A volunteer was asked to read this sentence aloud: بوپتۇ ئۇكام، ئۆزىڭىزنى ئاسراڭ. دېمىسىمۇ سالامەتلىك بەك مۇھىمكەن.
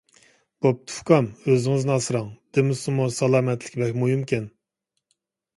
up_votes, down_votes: 2, 0